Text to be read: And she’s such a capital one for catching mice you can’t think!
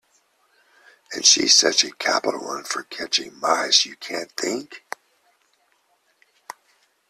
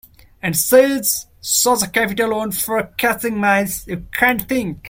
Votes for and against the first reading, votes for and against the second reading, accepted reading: 2, 0, 0, 2, first